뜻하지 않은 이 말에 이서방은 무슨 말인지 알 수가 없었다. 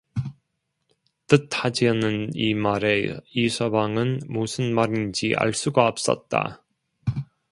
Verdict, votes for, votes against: accepted, 2, 1